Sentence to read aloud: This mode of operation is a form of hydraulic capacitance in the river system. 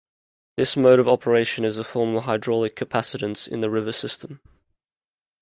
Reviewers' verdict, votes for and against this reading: accepted, 2, 1